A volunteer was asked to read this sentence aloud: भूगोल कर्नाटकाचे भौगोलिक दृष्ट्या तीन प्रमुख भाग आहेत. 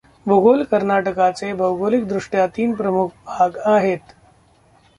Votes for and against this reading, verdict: 0, 2, rejected